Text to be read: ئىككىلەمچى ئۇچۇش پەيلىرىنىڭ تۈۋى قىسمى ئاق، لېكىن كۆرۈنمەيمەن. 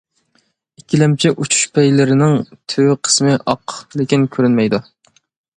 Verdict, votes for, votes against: rejected, 1, 2